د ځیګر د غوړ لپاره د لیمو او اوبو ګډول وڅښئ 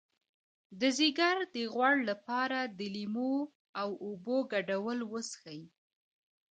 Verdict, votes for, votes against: accepted, 2, 0